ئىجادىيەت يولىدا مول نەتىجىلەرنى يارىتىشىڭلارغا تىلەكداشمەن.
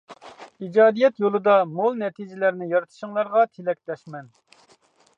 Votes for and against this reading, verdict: 2, 0, accepted